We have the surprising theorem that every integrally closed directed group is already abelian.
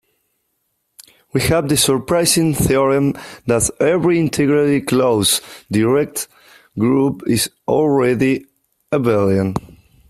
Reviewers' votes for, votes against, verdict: 2, 1, accepted